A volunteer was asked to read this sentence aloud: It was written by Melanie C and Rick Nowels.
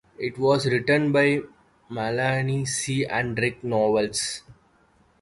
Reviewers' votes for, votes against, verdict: 2, 0, accepted